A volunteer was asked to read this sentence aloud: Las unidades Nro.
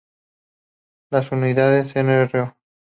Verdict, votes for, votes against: accepted, 2, 0